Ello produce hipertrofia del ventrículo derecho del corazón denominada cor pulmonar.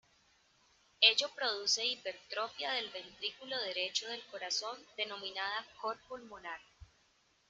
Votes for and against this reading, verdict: 1, 2, rejected